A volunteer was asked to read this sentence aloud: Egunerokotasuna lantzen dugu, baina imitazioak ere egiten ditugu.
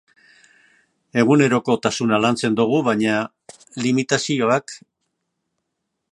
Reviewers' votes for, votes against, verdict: 0, 3, rejected